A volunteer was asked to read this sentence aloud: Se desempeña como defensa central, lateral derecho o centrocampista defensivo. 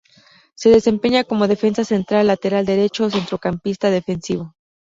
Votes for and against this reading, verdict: 2, 0, accepted